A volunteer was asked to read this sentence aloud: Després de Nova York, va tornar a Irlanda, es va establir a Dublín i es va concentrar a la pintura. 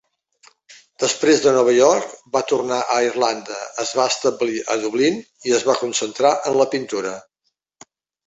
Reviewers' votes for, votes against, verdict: 1, 2, rejected